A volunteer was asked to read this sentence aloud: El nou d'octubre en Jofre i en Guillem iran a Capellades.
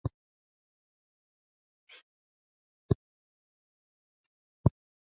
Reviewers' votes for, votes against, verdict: 0, 2, rejected